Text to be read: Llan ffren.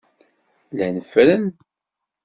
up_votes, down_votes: 2, 0